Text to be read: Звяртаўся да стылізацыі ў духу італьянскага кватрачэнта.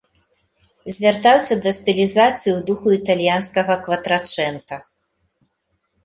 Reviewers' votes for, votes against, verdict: 2, 0, accepted